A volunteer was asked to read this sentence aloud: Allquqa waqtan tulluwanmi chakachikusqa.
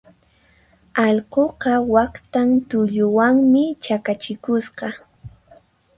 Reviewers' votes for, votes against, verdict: 4, 0, accepted